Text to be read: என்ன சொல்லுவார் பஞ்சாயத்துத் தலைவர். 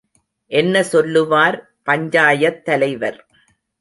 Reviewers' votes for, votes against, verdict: 1, 2, rejected